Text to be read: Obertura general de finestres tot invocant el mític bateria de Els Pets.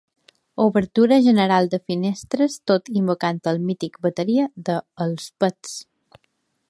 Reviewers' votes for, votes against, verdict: 2, 0, accepted